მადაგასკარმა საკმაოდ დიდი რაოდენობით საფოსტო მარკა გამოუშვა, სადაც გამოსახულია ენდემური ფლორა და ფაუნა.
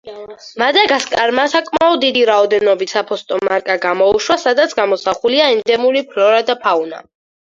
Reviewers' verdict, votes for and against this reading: accepted, 4, 0